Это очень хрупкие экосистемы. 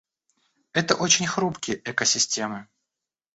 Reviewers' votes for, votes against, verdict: 1, 2, rejected